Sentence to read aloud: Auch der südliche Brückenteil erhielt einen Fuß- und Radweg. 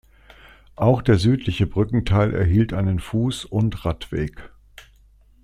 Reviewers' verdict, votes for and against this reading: accepted, 2, 0